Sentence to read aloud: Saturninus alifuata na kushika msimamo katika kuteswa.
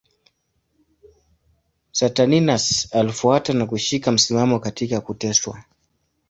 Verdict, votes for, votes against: accepted, 2, 0